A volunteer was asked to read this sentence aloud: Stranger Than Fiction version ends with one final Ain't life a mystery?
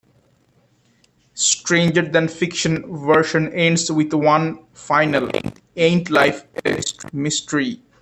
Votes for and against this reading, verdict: 1, 2, rejected